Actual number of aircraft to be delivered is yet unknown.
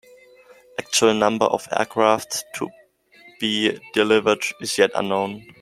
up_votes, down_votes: 2, 0